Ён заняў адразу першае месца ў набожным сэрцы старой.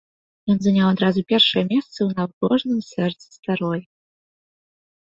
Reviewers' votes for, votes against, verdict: 2, 1, accepted